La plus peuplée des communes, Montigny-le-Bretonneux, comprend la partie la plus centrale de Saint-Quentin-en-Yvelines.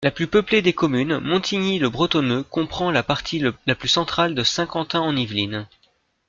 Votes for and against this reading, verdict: 1, 2, rejected